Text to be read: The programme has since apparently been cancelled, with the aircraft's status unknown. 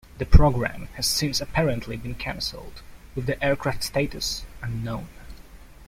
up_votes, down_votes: 2, 0